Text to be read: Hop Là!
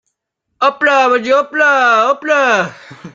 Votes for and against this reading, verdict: 0, 2, rejected